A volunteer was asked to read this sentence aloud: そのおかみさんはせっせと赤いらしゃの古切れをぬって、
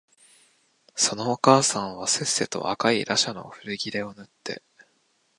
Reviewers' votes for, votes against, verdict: 0, 2, rejected